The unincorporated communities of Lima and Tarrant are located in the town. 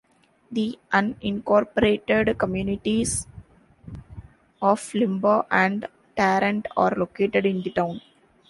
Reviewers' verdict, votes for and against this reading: accepted, 2, 1